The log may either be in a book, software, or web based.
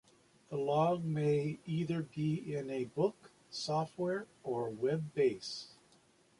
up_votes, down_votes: 3, 0